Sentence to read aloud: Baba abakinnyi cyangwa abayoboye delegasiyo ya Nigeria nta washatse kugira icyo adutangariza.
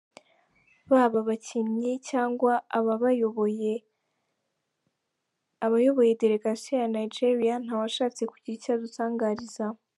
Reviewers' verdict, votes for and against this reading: rejected, 0, 2